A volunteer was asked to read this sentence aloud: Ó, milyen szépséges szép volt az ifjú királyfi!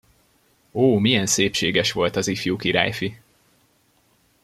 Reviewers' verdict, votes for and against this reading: rejected, 0, 2